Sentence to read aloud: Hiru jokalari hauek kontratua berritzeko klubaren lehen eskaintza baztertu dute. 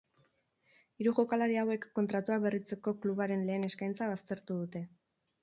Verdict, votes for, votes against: accepted, 4, 0